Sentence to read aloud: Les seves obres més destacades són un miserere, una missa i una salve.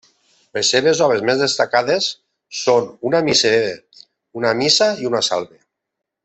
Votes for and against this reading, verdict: 0, 2, rejected